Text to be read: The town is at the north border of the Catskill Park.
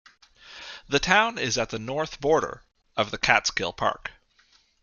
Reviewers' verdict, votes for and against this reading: accepted, 2, 0